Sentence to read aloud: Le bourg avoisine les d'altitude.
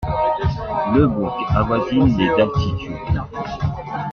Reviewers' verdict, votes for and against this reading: accepted, 2, 1